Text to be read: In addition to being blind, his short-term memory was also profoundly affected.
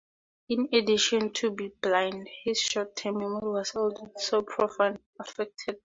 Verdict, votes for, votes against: rejected, 0, 4